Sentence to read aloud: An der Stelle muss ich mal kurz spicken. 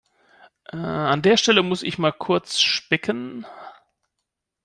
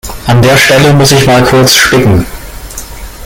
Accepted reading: first